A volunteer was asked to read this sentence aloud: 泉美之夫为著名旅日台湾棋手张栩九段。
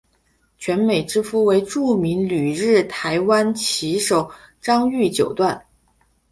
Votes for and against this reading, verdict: 2, 0, accepted